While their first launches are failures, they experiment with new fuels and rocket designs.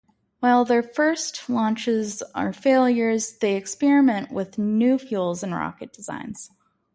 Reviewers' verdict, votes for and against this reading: accepted, 2, 0